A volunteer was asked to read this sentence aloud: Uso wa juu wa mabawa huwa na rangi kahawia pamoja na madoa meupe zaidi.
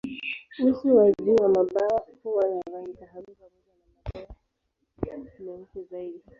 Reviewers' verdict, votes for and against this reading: rejected, 0, 2